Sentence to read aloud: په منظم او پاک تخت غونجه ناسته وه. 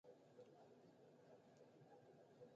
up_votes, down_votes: 1, 2